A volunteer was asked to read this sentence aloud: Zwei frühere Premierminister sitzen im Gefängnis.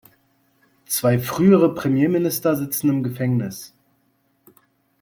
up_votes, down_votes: 2, 0